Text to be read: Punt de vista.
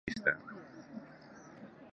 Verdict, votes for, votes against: rejected, 0, 2